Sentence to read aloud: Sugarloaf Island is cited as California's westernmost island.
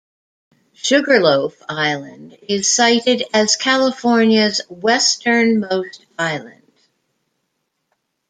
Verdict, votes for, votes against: accepted, 2, 0